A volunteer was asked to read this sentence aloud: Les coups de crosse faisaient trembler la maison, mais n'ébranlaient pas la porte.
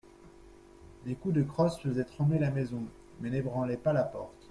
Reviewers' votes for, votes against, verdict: 2, 0, accepted